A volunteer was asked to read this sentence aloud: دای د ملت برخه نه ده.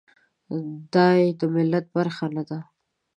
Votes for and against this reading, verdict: 2, 0, accepted